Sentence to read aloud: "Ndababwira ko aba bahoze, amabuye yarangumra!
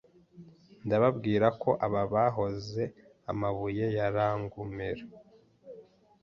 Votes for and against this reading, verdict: 1, 2, rejected